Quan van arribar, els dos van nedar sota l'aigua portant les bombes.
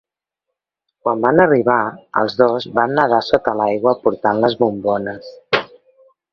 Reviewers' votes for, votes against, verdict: 1, 2, rejected